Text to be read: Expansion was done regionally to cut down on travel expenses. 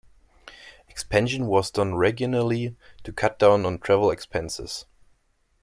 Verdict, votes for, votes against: rejected, 1, 3